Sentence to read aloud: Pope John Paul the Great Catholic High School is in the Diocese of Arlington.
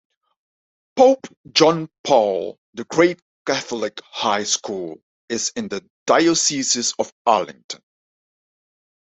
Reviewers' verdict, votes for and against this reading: rejected, 0, 2